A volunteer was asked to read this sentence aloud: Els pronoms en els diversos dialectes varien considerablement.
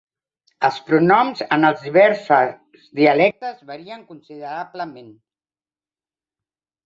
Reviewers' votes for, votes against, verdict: 1, 3, rejected